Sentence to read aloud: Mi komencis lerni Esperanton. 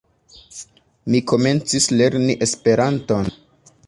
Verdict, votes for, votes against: rejected, 1, 2